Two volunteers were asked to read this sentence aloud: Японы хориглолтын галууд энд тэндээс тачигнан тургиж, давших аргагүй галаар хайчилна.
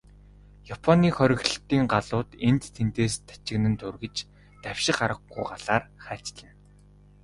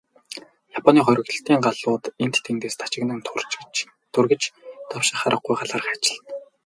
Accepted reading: first